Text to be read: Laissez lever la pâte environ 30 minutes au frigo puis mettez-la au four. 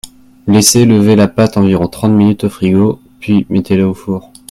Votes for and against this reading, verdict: 0, 2, rejected